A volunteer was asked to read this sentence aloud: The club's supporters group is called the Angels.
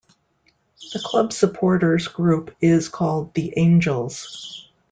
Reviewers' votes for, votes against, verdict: 2, 0, accepted